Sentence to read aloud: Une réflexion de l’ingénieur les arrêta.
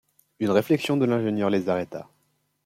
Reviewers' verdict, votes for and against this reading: accepted, 2, 0